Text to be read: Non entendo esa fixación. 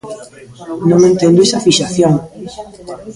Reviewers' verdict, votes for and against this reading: rejected, 1, 2